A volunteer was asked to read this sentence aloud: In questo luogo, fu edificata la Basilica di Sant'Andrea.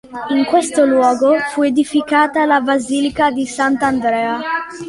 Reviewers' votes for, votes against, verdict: 2, 0, accepted